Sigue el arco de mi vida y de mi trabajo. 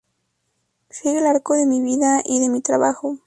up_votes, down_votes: 4, 0